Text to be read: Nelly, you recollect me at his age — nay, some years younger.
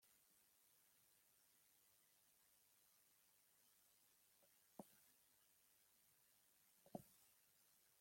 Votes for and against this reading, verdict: 0, 2, rejected